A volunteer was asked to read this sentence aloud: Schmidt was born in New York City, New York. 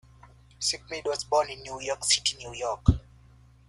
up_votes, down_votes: 1, 2